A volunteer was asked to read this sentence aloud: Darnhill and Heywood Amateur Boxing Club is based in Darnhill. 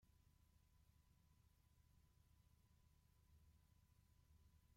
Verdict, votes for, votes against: rejected, 0, 2